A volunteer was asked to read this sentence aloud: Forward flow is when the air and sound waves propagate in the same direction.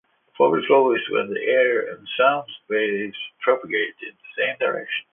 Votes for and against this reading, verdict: 2, 0, accepted